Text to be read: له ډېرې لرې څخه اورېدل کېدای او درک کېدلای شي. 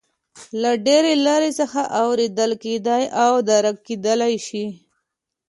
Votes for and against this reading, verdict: 2, 0, accepted